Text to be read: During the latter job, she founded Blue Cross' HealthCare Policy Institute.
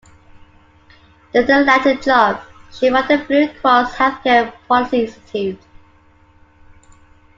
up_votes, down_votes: 0, 2